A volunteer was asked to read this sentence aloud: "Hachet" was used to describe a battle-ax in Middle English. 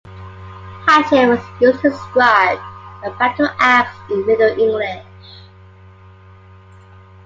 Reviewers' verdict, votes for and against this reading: accepted, 2, 0